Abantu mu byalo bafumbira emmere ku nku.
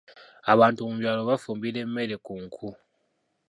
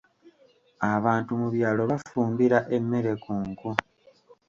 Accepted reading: second